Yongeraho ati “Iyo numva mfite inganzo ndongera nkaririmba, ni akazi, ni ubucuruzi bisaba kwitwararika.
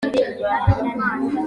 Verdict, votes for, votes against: rejected, 0, 2